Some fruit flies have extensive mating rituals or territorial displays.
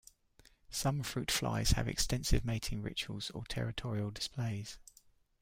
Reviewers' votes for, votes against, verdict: 2, 0, accepted